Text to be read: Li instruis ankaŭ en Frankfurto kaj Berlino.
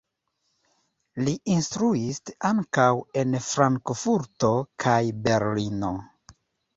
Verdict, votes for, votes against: accepted, 2, 0